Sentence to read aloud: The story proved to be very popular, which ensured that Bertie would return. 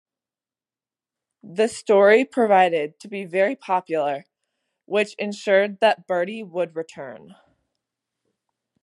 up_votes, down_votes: 0, 2